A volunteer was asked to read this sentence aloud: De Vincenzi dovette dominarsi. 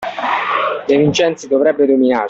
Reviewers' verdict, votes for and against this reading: rejected, 1, 2